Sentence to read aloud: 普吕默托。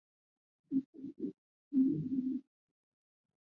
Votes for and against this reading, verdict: 4, 1, accepted